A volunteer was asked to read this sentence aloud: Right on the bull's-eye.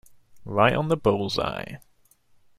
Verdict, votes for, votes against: accepted, 2, 0